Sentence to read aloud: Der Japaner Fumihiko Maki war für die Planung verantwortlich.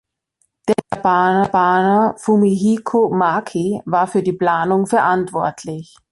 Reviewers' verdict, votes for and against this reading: rejected, 1, 2